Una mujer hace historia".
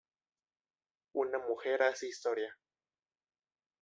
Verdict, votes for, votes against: rejected, 0, 2